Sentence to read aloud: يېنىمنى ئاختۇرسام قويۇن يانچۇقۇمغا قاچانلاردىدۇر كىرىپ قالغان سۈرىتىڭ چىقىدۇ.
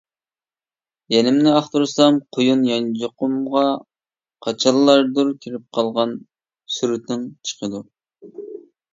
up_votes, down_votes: 0, 3